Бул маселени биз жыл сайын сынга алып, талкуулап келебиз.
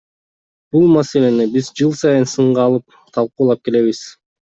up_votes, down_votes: 2, 0